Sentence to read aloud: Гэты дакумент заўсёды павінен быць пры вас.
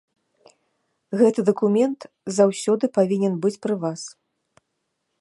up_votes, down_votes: 2, 0